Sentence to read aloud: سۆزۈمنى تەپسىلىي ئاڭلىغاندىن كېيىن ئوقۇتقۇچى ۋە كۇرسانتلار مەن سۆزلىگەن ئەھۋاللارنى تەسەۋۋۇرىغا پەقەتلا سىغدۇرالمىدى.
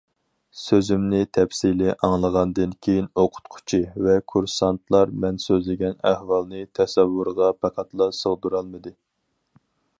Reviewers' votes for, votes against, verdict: 0, 4, rejected